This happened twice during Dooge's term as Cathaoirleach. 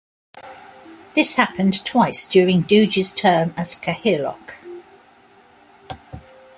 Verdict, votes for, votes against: accepted, 2, 1